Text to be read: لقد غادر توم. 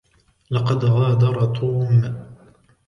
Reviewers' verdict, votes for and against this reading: rejected, 0, 2